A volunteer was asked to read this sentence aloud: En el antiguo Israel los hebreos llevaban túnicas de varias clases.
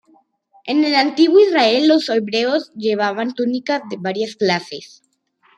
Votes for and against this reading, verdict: 2, 1, accepted